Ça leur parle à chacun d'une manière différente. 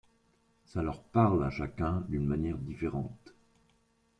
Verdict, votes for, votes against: accepted, 2, 1